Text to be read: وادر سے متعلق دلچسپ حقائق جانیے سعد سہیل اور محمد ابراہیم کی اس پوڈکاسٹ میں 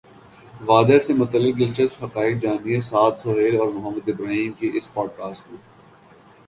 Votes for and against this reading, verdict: 3, 0, accepted